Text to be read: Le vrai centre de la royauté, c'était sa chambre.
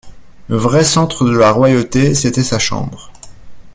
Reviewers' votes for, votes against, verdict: 2, 0, accepted